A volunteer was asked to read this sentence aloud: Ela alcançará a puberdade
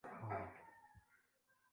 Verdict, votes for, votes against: rejected, 0, 2